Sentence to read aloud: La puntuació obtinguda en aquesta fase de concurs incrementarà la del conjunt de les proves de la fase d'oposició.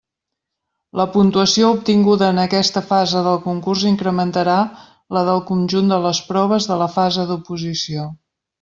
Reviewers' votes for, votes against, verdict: 0, 2, rejected